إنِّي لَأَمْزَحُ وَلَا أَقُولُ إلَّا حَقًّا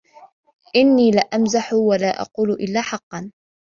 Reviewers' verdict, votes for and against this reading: accepted, 2, 0